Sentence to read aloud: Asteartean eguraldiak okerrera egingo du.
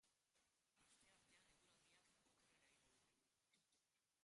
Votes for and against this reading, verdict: 0, 2, rejected